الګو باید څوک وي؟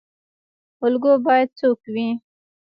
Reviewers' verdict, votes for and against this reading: rejected, 1, 2